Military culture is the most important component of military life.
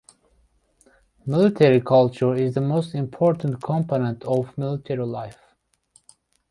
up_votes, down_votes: 2, 0